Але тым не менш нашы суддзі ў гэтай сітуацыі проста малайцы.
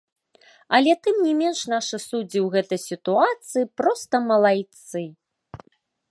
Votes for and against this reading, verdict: 2, 0, accepted